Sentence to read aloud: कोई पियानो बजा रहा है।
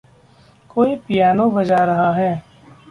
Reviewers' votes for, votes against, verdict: 2, 0, accepted